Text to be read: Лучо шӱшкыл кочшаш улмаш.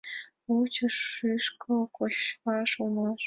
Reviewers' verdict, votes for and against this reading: rejected, 0, 2